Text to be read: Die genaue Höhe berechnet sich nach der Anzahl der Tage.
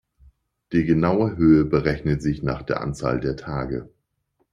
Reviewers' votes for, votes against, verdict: 2, 0, accepted